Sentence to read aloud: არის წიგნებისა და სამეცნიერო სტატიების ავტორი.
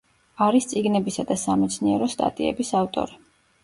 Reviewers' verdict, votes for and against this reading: accepted, 2, 0